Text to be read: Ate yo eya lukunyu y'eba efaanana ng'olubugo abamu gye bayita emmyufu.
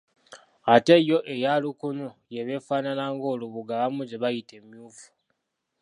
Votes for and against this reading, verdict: 1, 2, rejected